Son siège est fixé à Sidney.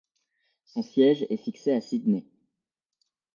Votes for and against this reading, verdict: 2, 0, accepted